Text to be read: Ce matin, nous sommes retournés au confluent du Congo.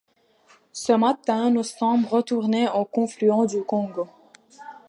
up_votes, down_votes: 2, 0